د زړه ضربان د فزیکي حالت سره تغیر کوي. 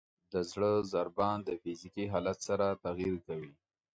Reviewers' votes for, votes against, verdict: 0, 2, rejected